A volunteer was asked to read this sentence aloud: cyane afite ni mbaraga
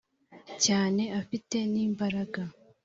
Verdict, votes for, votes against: accepted, 2, 0